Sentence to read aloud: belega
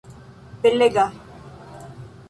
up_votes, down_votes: 2, 0